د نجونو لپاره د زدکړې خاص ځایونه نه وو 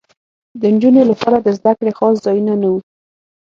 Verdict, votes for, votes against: accepted, 6, 0